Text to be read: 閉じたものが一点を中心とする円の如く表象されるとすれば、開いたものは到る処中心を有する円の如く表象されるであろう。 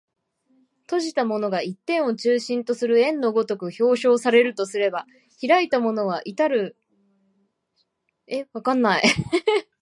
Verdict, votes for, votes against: rejected, 1, 2